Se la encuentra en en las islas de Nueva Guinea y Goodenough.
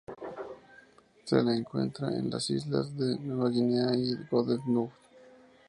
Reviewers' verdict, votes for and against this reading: accepted, 6, 0